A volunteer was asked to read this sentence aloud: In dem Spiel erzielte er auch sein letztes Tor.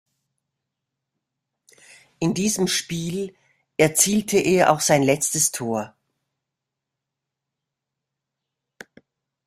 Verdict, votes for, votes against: rejected, 0, 2